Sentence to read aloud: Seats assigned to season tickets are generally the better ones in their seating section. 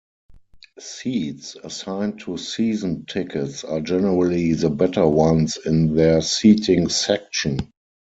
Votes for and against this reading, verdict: 2, 4, rejected